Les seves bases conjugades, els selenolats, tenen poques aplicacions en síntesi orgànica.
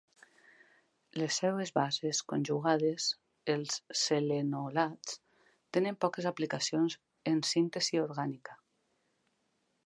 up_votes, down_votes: 2, 0